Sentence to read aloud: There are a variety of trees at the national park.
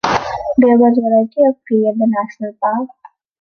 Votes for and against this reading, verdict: 0, 2, rejected